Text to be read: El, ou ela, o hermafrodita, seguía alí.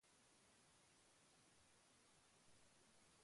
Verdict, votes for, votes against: rejected, 0, 3